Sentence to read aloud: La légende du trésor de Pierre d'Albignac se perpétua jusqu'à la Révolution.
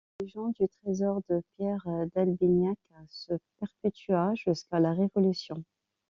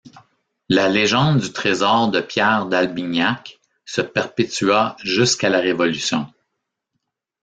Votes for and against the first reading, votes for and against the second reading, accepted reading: 1, 2, 2, 0, second